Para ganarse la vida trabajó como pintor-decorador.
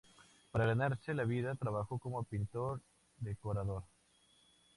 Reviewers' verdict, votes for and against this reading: accepted, 2, 0